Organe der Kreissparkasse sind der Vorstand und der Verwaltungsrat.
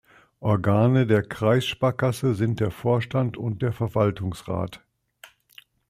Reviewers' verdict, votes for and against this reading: accepted, 2, 0